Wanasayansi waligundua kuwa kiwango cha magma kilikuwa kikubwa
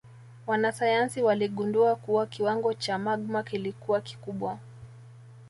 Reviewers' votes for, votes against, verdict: 2, 1, accepted